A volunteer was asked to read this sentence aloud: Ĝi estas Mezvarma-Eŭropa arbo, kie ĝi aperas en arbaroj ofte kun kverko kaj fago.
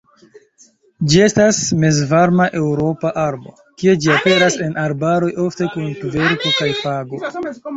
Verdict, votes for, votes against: rejected, 0, 2